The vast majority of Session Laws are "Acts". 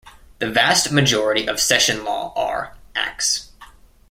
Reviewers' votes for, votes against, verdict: 0, 2, rejected